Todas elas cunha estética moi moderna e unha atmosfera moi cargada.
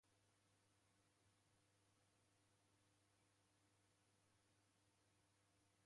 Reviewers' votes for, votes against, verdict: 0, 2, rejected